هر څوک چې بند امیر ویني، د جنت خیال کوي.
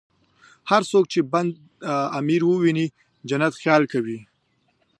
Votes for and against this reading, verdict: 2, 0, accepted